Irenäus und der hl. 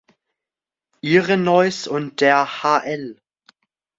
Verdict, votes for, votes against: accepted, 2, 1